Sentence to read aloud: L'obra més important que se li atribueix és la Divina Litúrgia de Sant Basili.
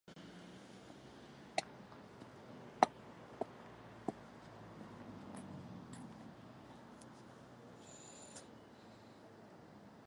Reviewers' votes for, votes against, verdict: 0, 3, rejected